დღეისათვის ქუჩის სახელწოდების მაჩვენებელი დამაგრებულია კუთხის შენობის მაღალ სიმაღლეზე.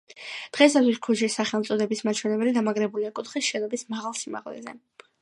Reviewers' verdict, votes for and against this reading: accepted, 2, 0